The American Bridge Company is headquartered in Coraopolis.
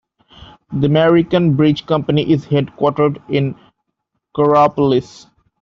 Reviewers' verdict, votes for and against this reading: accepted, 2, 1